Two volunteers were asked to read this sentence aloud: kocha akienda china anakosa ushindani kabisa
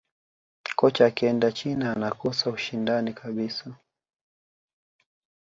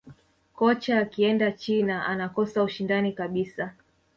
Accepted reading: first